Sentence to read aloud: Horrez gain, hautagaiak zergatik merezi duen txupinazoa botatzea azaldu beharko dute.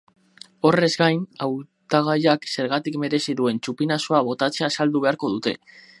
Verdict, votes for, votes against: rejected, 0, 4